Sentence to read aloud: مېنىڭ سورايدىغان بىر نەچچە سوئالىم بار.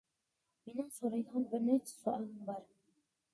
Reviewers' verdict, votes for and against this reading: rejected, 0, 2